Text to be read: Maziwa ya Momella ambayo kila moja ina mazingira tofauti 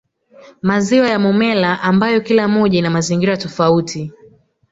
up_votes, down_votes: 1, 2